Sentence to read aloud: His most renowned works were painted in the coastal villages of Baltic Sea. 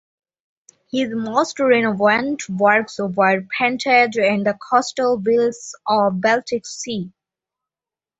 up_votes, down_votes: 1, 2